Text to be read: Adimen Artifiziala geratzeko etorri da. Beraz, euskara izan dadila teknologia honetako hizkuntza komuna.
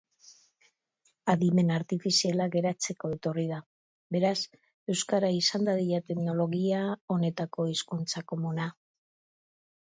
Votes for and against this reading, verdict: 3, 0, accepted